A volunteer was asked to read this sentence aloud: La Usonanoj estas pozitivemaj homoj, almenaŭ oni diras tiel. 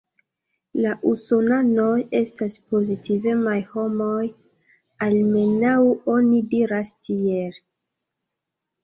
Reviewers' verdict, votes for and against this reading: accepted, 2, 0